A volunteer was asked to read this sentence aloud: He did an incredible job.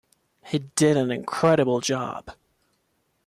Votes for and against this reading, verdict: 1, 2, rejected